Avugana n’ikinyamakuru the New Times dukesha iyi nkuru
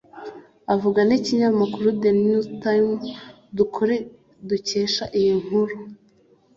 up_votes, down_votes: 2, 0